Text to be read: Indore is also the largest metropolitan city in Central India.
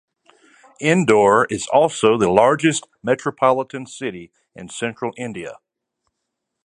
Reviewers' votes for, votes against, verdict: 2, 0, accepted